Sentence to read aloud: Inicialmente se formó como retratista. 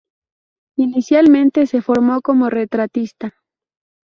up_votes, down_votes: 4, 0